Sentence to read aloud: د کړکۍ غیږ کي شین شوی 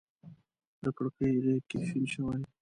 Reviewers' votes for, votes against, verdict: 1, 2, rejected